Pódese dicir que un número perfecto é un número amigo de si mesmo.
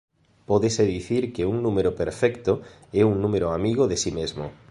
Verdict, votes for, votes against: accepted, 2, 0